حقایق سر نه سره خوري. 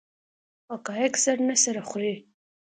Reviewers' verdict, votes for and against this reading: accepted, 2, 0